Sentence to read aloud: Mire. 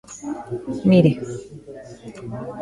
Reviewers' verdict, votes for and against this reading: accepted, 2, 0